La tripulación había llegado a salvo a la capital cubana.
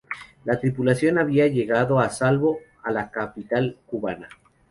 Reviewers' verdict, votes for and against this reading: accepted, 2, 0